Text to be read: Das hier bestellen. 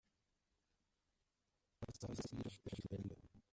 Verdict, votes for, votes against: rejected, 0, 2